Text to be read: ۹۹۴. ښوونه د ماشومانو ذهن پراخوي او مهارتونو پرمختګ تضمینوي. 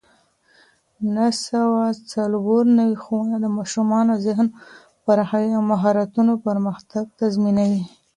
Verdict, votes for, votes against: rejected, 0, 2